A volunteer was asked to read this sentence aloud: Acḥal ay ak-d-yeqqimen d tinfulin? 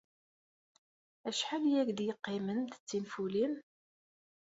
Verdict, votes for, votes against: accepted, 2, 0